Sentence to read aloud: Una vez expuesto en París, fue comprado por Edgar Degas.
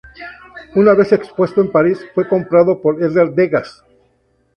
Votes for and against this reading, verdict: 4, 0, accepted